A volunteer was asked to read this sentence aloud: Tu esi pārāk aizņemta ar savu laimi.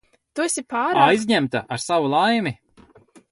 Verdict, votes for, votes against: rejected, 0, 2